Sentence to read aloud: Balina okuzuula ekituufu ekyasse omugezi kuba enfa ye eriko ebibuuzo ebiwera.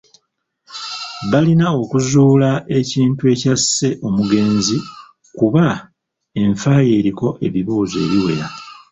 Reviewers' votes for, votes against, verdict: 0, 2, rejected